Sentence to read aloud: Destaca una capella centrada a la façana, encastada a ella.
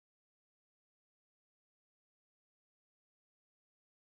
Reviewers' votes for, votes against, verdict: 0, 2, rejected